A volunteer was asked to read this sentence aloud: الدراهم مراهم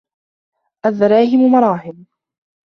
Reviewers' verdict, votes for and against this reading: rejected, 0, 2